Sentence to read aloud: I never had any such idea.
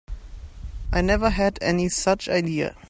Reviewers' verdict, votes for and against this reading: accepted, 4, 0